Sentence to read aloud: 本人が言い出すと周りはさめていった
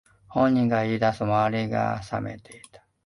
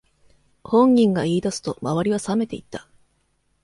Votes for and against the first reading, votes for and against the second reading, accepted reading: 0, 2, 2, 0, second